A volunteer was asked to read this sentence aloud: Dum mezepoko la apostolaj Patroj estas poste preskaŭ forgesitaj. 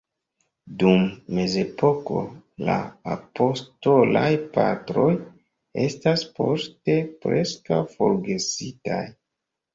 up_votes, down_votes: 1, 2